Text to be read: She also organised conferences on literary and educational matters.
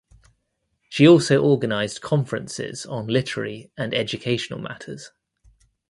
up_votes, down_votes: 2, 0